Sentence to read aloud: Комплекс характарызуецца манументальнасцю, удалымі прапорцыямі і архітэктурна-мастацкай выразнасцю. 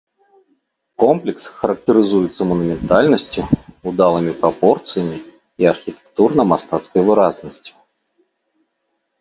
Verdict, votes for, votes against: accepted, 3, 0